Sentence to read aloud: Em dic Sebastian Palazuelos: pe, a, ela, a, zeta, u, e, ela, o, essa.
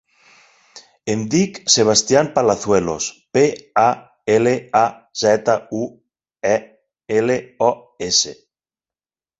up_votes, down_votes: 0, 4